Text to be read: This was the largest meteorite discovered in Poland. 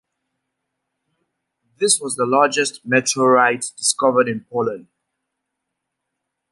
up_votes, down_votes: 2, 0